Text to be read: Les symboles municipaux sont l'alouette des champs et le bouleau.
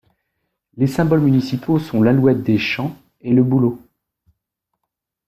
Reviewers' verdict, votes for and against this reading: accepted, 2, 0